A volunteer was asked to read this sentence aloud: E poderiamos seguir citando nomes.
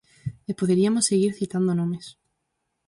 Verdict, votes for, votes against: rejected, 0, 4